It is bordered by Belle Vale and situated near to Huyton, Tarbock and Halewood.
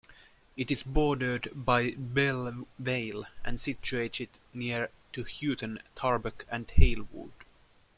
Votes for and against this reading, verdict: 2, 1, accepted